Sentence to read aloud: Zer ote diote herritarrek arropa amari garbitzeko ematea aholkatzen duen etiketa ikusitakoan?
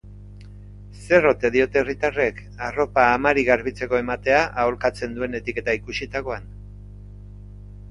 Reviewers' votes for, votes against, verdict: 3, 0, accepted